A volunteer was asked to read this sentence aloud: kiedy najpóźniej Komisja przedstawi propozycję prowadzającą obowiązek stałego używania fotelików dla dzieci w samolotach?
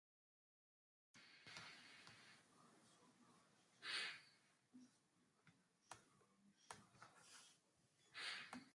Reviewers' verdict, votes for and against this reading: rejected, 0, 2